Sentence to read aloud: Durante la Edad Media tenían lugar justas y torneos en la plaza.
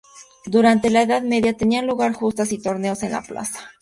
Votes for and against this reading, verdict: 2, 0, accepted